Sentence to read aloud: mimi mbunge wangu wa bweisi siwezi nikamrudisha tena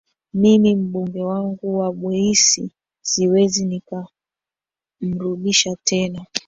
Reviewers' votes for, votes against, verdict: 0, 2, rejected